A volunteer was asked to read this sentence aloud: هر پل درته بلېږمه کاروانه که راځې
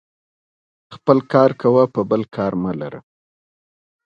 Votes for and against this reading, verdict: 0, 2, rejected